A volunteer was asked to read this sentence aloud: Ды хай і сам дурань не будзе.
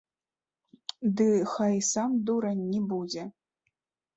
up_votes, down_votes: 1, 2